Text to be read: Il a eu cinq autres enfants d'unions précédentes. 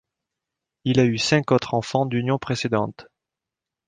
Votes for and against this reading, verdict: 2, 0, accepted